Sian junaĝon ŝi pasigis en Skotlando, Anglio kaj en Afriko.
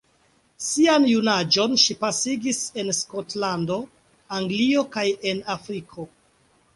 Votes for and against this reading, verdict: 2, 0, accepted